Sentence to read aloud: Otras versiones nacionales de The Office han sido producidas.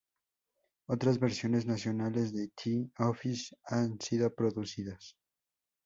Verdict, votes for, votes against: rejected, 0, 2